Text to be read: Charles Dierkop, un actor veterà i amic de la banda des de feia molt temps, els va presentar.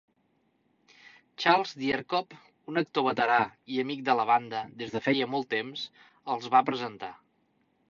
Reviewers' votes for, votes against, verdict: 4, 0, accepted